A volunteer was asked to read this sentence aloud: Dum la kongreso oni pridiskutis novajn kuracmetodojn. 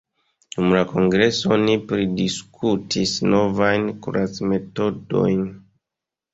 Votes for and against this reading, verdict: 2, 0, accepted